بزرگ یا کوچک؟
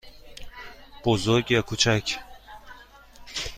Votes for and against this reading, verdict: 2, 0, accepted